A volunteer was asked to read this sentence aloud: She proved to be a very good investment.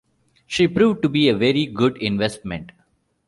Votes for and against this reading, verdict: 2, 0, accepted